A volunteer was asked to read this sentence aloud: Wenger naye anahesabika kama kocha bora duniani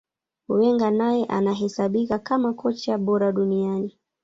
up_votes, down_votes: 2, 0